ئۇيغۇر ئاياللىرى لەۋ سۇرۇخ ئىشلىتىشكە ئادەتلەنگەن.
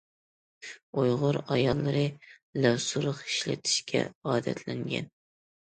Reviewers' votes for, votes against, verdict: 2, 0, accepted